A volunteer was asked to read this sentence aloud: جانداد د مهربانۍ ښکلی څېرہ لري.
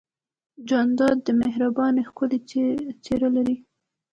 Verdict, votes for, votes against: accepted, 2, 0